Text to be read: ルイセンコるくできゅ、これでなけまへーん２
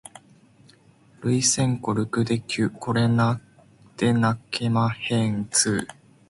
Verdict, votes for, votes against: rejected, 0, 2